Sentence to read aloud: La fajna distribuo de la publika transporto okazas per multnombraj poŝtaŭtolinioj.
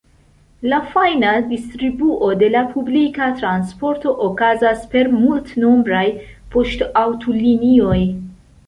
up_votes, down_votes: 2, 0